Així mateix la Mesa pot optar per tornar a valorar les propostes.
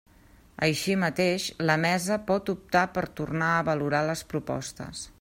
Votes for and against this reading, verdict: 3, 0, accepted